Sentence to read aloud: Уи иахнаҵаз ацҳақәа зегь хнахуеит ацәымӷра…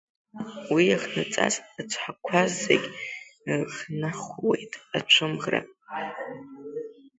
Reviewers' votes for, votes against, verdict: 0, 2, rejected